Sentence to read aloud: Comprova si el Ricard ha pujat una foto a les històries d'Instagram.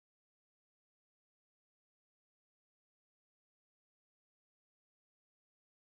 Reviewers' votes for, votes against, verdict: 0, 2, rejected